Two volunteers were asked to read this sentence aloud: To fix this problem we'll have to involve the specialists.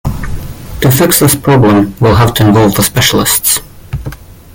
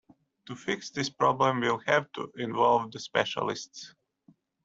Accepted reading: second